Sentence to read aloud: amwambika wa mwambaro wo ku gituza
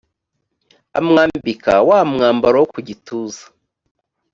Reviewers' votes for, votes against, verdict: 2, 0, accepted